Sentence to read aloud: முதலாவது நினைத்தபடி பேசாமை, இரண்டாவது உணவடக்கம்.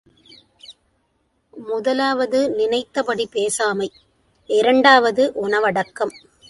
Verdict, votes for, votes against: accepted, 2, 0